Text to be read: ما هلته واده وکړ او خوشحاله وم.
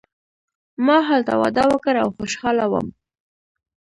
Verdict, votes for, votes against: accepted, 2, 0